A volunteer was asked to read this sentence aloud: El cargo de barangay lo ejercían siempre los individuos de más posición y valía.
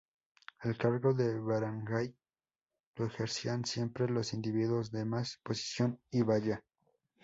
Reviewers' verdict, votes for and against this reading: rejected, 2, 2